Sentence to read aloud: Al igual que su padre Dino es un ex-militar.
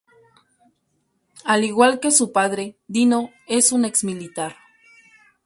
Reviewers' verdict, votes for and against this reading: accepted, 2, 0